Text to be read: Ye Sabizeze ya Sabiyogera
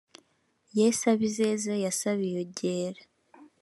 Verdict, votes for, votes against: accepted, 3, 0